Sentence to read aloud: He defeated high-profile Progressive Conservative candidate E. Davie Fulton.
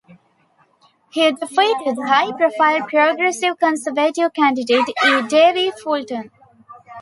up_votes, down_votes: 1, 2